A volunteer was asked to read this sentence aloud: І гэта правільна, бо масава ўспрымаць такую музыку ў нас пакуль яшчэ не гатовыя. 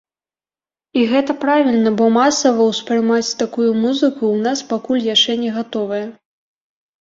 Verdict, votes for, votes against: rejected, 1, 2